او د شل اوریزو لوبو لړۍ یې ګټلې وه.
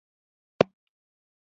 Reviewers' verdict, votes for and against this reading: rejected, 0, 2